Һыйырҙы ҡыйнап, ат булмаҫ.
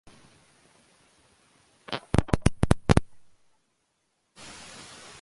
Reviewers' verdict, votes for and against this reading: rejected, 0, 2